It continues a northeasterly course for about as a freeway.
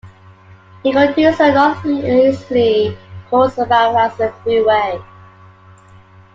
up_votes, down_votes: 2, 1